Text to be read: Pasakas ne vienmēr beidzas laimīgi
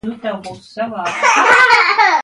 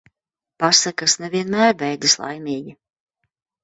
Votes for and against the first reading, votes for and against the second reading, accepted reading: 1, 2, 2, 0, second